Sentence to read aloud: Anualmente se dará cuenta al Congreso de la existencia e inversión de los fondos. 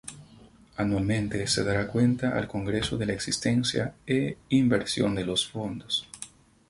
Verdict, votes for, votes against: rejected, 0, 2